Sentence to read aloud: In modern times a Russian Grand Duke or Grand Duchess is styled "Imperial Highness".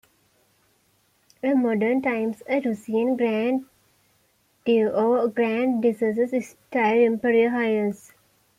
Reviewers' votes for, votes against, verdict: 1, 2, rejected